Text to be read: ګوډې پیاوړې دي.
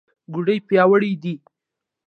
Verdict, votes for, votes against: accepted, 2, 0